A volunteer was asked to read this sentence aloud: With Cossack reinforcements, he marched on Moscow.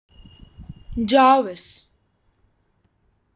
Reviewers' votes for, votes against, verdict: 0, 2, rejected